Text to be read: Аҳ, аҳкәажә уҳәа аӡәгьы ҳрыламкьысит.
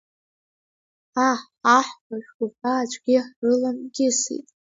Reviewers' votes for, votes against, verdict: 1, 2, rejected